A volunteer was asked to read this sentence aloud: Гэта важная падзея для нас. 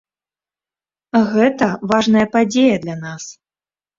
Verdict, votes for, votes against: accepted, 2, 0